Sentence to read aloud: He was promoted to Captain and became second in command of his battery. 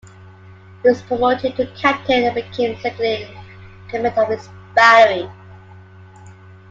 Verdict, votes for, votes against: rejected, 1, 2